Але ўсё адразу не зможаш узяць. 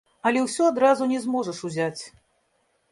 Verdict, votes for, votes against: rejected, 1, 3